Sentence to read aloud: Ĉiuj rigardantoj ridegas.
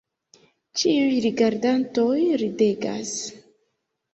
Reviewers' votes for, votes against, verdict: 2, 0, accepted